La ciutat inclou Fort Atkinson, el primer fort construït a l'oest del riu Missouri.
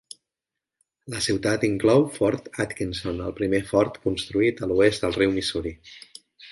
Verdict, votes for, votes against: accepted, 3, 0